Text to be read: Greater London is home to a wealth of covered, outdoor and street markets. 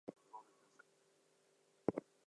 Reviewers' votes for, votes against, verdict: 0, 2, rejected